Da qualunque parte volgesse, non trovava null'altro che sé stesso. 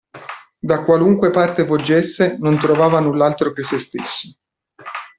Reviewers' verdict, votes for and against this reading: rejected, 0, 2